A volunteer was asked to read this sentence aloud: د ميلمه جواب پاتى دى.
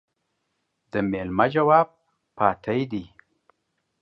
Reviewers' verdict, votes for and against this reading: accepted, 2, 0